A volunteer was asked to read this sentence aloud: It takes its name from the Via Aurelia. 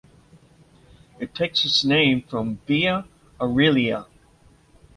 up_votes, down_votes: 0, 2